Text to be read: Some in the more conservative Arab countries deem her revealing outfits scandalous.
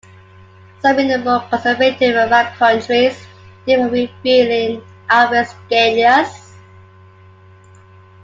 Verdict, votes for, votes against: rejected, 0, 2